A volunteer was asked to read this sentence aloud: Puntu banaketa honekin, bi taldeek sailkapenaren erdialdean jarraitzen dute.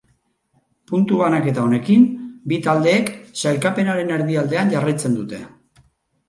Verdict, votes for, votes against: accepted, 4, 0